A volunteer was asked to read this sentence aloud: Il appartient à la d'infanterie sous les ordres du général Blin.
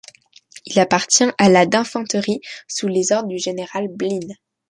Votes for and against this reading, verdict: 0, 2, rejected